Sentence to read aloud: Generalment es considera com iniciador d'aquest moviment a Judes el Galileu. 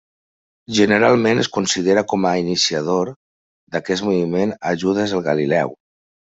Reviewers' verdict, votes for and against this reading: rejected, 1, 2